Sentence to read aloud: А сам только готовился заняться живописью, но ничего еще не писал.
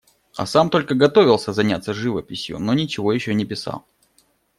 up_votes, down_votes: 2, 0